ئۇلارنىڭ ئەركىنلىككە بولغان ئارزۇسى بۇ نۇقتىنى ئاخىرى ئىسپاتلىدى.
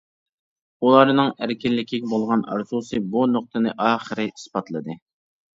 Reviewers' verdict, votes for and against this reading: rejected, 0, 2